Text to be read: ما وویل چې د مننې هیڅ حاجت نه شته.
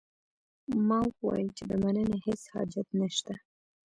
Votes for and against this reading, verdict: 2, 0, accepted